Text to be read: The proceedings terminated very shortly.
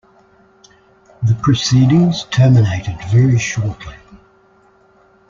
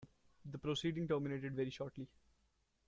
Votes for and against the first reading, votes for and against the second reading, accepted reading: 2, 0, 0, 2, first